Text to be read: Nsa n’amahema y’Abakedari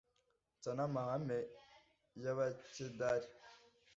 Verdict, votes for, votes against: rejected, 1, 2